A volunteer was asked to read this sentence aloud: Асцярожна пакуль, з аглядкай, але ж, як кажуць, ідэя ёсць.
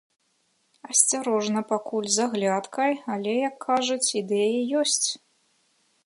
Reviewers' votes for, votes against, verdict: 1, 2, rejected